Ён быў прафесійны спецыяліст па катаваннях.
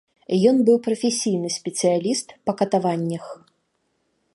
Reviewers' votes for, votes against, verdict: 2, 0, accepted